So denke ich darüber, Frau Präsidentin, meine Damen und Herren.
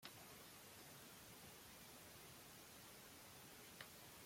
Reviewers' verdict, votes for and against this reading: rejected, 0, 2